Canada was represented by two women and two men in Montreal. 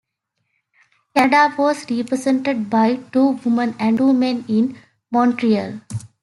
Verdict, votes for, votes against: rejected, 0, 2